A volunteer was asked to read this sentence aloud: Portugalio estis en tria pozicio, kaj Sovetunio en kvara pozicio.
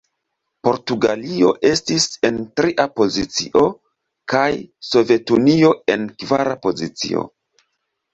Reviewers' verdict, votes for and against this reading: rejected, 0, 2